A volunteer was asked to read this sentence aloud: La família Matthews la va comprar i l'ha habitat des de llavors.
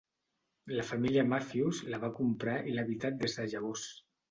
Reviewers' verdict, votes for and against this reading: accepted, 2, 1